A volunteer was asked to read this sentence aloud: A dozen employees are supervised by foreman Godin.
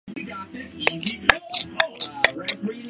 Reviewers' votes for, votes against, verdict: 0, 2, rejected